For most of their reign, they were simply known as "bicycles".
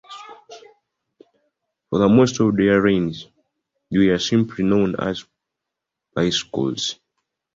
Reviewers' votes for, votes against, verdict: 0, 2, rejected